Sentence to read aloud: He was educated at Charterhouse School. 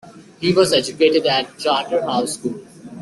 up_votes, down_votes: 2, 1